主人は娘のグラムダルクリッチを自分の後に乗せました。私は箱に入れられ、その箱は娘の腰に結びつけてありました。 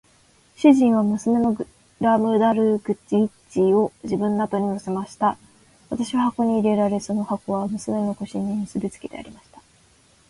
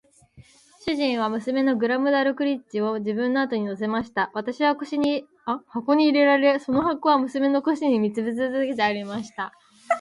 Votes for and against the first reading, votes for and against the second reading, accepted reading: 2, 0, 1, 2, first